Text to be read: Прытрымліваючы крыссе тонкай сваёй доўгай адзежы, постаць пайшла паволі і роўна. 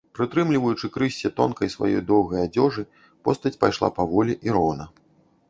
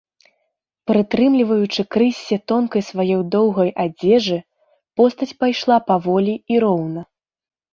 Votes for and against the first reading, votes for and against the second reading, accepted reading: 1, 2, 2, 0, second